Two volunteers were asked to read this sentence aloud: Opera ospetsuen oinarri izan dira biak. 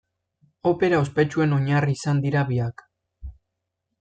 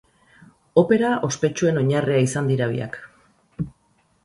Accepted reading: first